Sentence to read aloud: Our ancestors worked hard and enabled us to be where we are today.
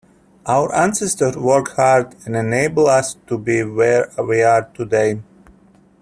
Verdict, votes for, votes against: rejected, 0, 2